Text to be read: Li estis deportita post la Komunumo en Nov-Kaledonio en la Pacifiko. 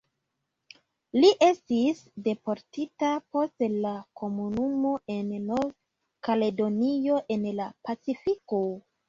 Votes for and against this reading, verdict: 2, 1, accepted